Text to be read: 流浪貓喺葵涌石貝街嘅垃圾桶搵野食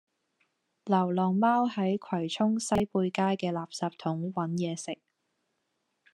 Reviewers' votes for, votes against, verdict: 0, 2, rejected